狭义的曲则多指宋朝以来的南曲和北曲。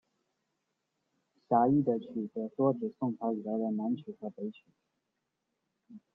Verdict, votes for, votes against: rejected, 1, 2